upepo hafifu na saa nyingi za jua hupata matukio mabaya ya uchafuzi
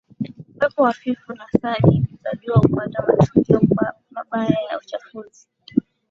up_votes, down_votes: 14, 2